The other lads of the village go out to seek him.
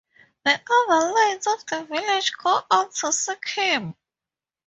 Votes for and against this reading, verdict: 2, 4, rejected